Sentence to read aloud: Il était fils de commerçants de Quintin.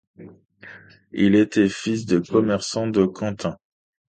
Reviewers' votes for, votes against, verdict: 0, 2, rejected